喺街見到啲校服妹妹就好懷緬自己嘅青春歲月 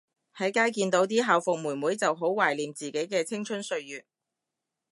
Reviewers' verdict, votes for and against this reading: rejected, 1, 2